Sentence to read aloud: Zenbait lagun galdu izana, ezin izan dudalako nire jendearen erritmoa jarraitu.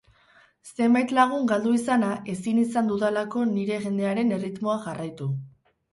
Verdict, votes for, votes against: accepted, 2, 0